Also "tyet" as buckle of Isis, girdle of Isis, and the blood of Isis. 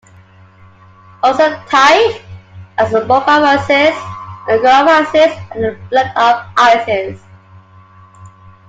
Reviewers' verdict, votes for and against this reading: rejected, 1, 2